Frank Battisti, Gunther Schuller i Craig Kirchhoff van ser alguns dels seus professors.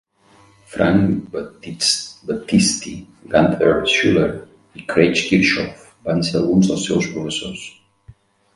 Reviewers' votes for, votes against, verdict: 1, 2, rejected